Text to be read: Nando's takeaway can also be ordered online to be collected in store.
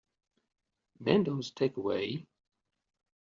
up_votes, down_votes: 0, 2